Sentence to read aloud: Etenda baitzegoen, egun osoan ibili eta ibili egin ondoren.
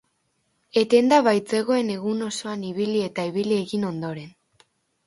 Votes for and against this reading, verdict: 6, 2, accepted